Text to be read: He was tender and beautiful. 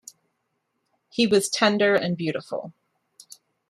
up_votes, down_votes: 2, 0